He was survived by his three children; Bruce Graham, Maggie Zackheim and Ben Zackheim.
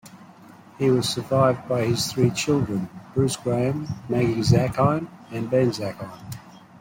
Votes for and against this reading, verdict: 2, 0, accepted